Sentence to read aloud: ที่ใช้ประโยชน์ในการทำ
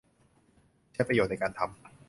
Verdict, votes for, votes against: rejected, 0, 2